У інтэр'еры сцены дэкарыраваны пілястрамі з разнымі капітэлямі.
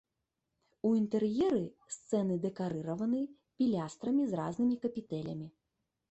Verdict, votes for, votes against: rejected, 0, 2